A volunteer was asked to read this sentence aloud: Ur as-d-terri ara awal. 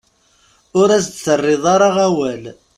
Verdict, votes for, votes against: rejected, 0, 2